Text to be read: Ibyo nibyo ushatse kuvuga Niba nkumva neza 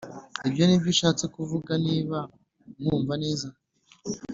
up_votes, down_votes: 2, 0